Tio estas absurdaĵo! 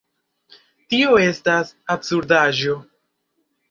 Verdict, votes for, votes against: rejected, 0, 2